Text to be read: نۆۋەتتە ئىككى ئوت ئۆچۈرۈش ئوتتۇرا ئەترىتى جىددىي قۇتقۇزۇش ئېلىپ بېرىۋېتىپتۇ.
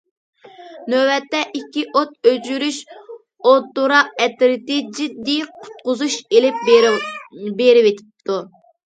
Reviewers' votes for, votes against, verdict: 0, 2, rejected